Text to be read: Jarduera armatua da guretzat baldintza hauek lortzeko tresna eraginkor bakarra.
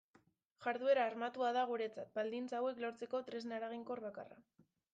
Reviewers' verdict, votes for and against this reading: rejected, 0, 2